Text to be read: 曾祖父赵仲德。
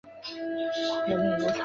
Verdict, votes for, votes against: rejected, 1, 3